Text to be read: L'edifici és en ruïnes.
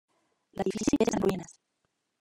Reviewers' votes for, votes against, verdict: 0, 2, rejected